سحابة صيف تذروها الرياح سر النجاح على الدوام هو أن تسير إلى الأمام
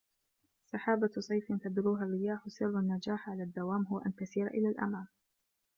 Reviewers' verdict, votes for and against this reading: rejected, 1, 2